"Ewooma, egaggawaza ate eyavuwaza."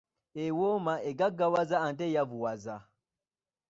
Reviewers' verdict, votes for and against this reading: rejected, 1, 2